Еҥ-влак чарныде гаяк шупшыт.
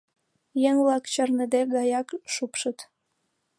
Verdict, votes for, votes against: accepted, 2, 0